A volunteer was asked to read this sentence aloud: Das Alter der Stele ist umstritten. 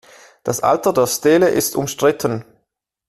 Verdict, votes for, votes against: accepted, 2, 0